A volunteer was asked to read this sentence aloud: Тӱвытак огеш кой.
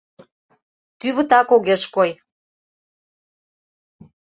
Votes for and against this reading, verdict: 2, 0, accepted